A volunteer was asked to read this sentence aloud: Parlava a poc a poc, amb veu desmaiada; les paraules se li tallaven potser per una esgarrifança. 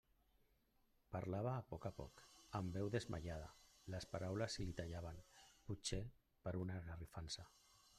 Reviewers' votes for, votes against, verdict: 1, 2, rejected